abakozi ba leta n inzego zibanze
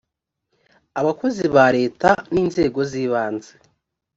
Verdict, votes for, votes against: accepted, 3, 0